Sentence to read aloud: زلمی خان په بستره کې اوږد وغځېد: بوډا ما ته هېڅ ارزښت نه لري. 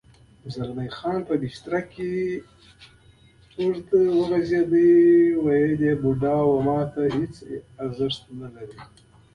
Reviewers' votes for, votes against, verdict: 0, 2, rejected